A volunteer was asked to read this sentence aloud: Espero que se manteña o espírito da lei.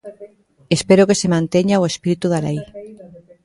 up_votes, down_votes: 0, 2